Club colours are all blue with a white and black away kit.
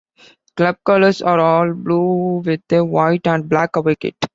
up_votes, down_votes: 1, 2